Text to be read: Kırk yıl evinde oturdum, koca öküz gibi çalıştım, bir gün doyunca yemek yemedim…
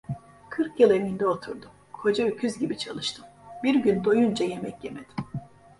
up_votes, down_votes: 2, 0